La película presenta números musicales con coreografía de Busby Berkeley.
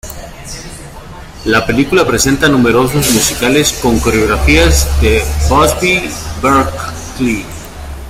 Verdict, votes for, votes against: accepted, 2, 1